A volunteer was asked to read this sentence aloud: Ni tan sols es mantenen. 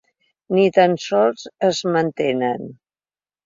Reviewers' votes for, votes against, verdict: 2, 0, accepted